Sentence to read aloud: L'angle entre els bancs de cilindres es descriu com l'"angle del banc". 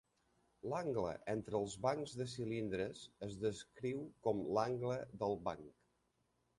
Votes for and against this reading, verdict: 1, 2, rejected